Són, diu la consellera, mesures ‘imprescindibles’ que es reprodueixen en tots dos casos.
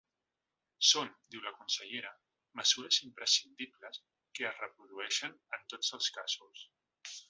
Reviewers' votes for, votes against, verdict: 0, 2, rejected